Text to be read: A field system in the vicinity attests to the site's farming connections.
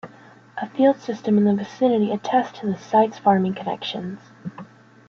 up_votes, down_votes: 3, 0